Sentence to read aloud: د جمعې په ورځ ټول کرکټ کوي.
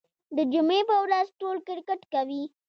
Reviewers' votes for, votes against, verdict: 0, 2, rejected